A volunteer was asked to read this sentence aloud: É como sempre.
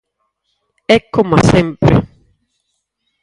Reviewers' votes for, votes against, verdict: 0, 4, rejected